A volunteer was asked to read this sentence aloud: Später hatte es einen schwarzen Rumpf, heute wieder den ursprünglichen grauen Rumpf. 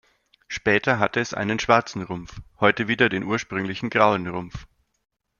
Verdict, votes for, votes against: accepted, 2, 0